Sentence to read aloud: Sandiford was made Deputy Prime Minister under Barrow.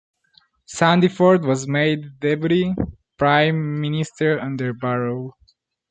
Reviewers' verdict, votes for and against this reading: accepted, 2, 1